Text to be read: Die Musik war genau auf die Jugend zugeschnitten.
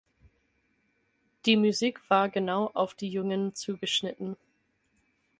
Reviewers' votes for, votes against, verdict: 0, 4, rejected